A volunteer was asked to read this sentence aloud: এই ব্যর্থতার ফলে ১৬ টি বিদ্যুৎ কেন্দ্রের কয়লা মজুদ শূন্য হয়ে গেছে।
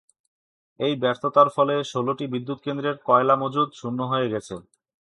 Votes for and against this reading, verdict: 0, 2, rejected